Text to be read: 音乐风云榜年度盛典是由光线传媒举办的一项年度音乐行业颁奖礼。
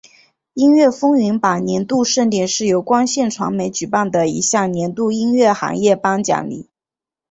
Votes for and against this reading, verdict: 4, 1, accepted